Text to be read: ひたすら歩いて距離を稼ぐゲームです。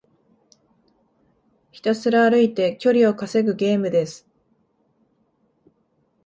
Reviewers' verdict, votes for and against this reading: accepted, 2, 0